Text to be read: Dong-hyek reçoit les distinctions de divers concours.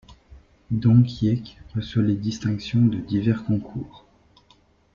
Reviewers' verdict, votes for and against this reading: rejected, 1, 2